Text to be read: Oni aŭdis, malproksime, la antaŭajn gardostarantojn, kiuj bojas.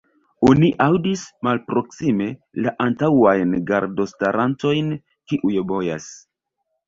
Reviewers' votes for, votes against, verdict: 1, 2, rejected